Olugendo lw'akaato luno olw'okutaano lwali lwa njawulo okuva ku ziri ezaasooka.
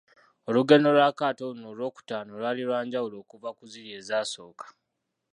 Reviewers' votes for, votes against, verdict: 1, 2, rejected